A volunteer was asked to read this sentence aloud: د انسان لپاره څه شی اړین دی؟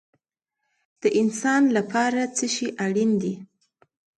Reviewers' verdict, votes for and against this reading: accepted, 2, 0